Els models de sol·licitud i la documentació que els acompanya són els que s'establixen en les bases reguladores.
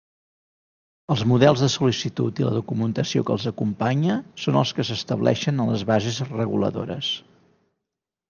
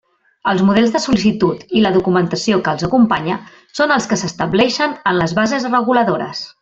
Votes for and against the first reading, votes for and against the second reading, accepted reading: 0, 2, 2, 0, second